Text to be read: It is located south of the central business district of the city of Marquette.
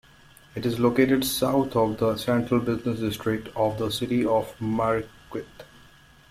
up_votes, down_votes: 1, 2